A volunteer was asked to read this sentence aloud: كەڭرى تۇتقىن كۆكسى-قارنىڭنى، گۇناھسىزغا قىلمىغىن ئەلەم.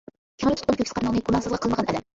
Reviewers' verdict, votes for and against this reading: rejected, 0, 2